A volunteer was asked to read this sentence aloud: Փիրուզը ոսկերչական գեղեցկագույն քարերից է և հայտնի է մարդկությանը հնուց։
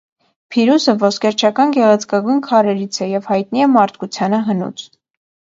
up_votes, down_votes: 2, 0